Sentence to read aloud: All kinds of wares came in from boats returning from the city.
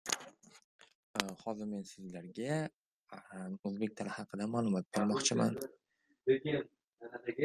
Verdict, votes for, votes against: rejected, 0, 2